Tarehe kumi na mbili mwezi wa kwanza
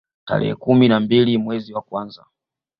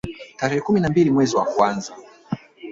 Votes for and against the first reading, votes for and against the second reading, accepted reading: 2, 0, 0, 2, first